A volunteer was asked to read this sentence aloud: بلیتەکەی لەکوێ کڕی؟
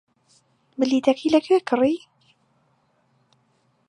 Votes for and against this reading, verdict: 2, 0, accepted